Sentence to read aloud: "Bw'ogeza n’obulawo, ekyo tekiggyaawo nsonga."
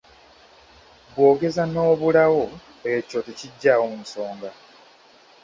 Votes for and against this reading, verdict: 1, 2, rejected